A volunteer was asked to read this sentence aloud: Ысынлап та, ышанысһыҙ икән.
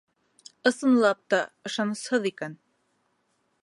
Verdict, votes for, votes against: accepted, 2, 0